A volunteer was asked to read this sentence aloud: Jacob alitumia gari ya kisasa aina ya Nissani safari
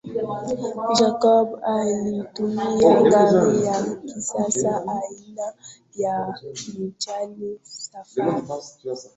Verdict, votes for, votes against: rejected, 0, 2